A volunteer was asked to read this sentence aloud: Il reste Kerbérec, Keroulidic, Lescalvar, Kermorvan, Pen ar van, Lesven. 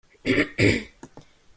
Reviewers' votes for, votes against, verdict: 0, 2, rejected